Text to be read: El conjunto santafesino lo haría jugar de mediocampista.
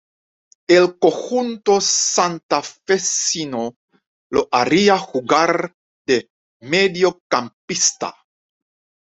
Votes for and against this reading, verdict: 1, 2, rejected